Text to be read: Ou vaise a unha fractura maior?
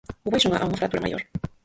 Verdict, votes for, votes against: rejected, 0, 4